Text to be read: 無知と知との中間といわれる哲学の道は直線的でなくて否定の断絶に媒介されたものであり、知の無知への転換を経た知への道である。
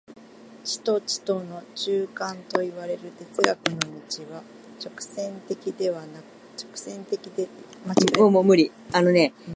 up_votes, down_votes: 0, 2